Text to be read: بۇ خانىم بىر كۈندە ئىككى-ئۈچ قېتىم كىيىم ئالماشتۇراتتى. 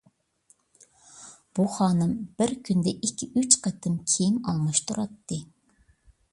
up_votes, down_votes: 2, 0